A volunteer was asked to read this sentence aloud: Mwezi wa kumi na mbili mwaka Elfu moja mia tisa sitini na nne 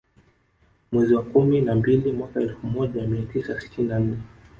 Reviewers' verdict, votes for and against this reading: accepted, 3, 0